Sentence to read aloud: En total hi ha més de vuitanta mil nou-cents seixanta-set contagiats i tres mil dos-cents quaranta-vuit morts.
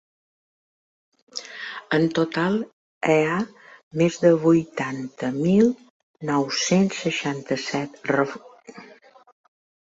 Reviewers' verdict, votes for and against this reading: rejected, 0, 2